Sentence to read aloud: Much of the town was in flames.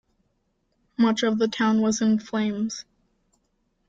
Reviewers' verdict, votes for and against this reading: accepted, 2, 0